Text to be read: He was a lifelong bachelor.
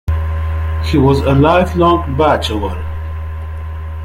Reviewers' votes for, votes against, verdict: 2, 0, accepted